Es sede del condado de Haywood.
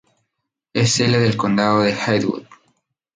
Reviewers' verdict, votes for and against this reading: rejected, 0, 2